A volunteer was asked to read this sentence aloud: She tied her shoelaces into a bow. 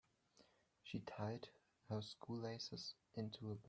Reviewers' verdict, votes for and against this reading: rejected, 1, 2